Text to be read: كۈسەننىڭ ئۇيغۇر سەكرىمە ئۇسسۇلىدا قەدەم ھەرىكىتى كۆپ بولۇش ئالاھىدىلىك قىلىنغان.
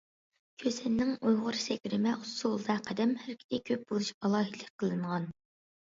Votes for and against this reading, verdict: 2, 0, accepted